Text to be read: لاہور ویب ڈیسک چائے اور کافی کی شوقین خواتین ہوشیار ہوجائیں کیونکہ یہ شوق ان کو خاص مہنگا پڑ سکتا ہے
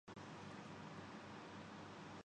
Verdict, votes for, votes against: rejected, 4, 5